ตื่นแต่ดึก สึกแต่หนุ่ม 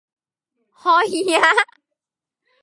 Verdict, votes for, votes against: rejected, 0, 2